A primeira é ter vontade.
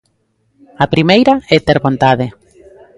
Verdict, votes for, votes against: rejected, 0, 2